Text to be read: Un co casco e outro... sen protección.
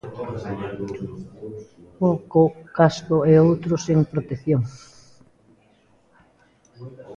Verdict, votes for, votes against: rejected, 0, 2